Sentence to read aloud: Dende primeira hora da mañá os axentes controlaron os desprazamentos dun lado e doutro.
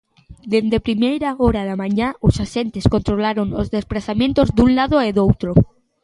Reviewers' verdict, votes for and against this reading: accepted, 2, 0